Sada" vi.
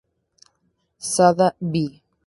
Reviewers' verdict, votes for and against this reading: rejected, 0, 2